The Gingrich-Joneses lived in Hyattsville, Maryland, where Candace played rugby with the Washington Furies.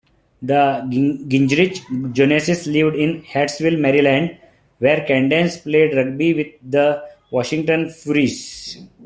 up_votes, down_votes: 1, 2